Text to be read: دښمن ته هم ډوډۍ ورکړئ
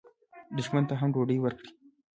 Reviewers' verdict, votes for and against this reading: accepted, 3, 0